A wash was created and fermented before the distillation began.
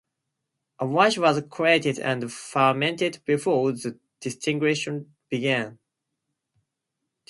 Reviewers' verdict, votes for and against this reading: accepted, 2, 0